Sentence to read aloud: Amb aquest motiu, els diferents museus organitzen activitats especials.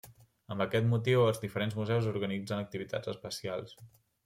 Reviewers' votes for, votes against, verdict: 3, 0, accepted